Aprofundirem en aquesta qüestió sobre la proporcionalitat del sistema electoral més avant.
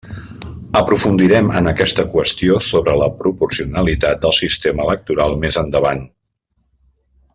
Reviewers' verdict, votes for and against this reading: rejected, 1, 2